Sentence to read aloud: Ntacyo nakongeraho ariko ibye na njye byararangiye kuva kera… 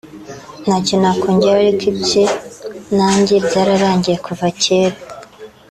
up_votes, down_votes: 2, 0